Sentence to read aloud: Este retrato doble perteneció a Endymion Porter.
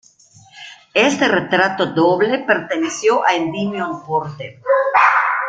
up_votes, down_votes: 0, 2